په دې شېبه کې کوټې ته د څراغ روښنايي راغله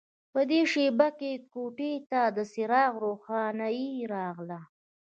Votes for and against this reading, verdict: 1, 2, rejected